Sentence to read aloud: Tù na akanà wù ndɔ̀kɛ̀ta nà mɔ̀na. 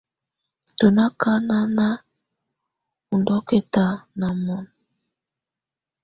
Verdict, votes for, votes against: accepted, 2, 0